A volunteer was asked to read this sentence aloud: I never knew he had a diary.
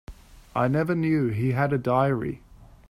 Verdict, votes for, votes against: accepted, 3, 0